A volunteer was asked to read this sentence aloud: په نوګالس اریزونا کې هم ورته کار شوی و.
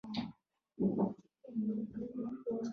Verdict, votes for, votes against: rejected, 0, 2